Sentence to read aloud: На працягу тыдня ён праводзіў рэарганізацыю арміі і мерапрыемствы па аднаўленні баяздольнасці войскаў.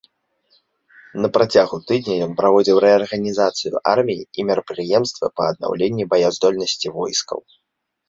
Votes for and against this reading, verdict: 1, 2, rejected